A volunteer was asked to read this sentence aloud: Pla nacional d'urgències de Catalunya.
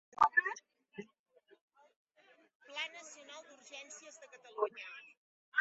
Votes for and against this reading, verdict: 0, 2, rejected